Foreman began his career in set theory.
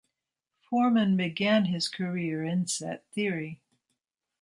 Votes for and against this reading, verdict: 2, 0, accepted